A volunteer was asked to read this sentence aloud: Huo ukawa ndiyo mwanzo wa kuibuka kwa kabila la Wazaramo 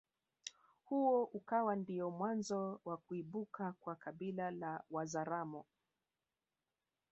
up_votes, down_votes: 2, 0